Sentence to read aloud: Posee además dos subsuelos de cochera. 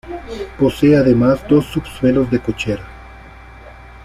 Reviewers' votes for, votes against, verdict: 2, 0, accepted